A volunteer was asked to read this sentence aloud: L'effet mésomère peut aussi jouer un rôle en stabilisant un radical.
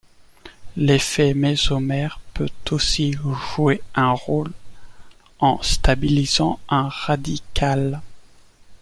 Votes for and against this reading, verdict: 2, 0, accepted